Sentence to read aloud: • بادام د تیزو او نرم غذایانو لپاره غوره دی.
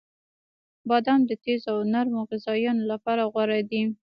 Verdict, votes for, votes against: accepted, 2, 0